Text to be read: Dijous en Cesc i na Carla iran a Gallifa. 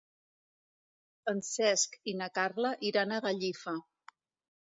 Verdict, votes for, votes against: rejected, 0, 2